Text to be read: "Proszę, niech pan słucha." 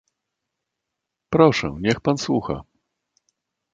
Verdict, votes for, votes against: accepted, 2, 0